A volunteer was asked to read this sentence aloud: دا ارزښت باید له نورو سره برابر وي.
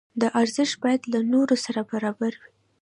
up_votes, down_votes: 2, 0